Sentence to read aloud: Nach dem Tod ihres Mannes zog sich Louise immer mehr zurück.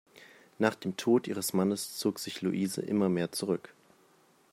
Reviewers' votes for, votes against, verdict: 2, 0, accepted